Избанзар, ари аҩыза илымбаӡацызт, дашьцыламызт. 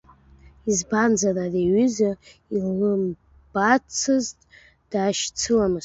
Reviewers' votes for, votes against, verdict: 0, 2, rejected